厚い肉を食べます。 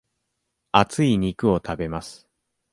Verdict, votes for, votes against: accepted, 2, 0